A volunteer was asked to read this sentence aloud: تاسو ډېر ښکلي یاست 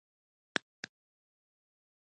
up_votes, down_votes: 1, 2